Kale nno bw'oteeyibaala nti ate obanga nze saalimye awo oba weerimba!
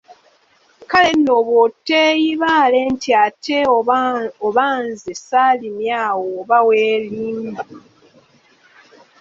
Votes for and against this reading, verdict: 0, 2, rejected